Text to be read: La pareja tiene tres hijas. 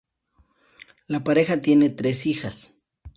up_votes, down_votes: 2, 0